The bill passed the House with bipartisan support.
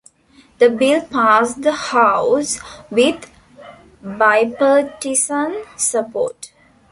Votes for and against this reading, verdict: 1, 2, rejected